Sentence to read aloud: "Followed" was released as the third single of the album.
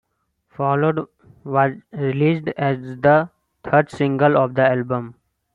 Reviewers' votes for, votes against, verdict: 2, 0, accepted